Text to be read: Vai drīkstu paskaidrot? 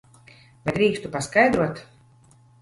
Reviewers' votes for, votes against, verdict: 1, 2, rejected